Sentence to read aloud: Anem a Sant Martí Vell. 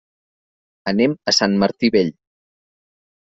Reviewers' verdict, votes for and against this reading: accepted, 5, 0